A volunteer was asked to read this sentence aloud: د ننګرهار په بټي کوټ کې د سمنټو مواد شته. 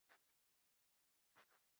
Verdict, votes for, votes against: rejected, 2, 4